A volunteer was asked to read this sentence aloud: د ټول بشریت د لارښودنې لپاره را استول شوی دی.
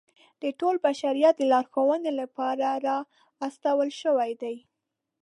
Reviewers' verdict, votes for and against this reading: rejected, 0, 2